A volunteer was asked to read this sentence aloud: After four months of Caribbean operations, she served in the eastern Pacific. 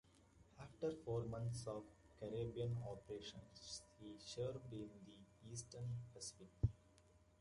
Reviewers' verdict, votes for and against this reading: accepted, 2, 1